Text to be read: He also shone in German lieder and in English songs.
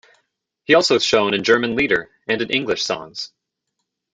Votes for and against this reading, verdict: 2, 1, accepted